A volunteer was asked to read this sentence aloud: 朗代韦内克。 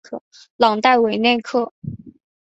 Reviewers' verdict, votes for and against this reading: accepted, 2, 0